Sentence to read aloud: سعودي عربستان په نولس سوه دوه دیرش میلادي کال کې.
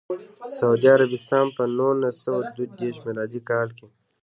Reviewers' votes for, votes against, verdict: 2, 0, accepted